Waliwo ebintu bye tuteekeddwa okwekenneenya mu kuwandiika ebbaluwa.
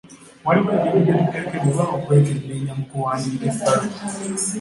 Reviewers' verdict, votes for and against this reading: rejected, 1, 2